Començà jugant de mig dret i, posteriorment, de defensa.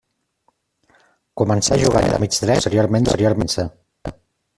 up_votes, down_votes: 0, 2